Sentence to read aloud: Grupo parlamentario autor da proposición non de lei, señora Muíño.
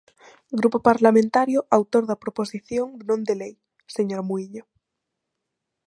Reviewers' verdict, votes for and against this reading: accepted, 2, 0